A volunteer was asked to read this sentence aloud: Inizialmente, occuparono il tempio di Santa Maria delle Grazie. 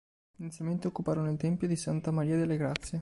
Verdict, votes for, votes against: accepted, 2, 1